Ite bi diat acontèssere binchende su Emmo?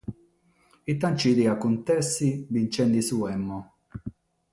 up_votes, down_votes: 3, 6